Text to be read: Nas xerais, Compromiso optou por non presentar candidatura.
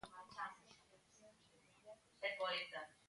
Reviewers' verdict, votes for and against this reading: rejected, 0, 2